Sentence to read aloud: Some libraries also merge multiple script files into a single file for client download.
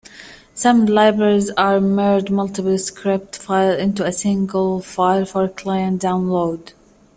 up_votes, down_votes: 0, 2